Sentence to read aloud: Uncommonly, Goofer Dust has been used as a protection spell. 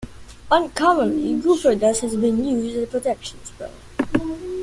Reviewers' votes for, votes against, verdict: 0, 2, rejected